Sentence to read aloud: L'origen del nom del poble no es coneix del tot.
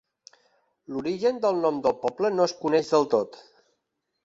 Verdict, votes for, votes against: accepted, 3, 0